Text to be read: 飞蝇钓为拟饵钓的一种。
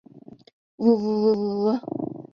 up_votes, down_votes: 1, 2